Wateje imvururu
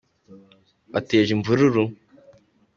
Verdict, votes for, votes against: accepted, 2, 1